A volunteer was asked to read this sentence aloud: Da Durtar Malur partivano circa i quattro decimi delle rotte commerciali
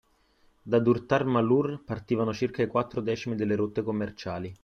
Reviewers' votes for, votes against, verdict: 2, 0, accepted